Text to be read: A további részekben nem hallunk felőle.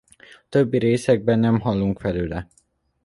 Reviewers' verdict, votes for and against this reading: rejected, 0, 2